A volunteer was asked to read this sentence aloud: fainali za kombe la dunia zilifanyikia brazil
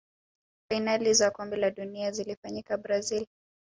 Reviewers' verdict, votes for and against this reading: accepted, 2, 0